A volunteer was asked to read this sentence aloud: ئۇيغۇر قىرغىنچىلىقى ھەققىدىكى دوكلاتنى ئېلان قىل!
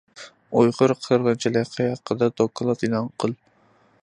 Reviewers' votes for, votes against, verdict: 0, 2, rejected